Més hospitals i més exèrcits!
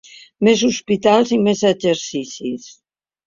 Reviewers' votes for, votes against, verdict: 0, 2, rejected